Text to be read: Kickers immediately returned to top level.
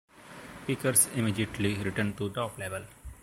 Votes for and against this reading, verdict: 2, 0, accepted